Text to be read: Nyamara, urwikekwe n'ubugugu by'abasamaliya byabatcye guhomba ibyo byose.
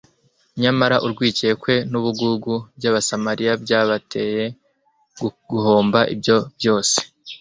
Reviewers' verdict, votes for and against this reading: rejected, 0, 2